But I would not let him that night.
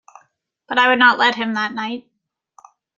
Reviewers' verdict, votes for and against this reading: accepted, 2, 0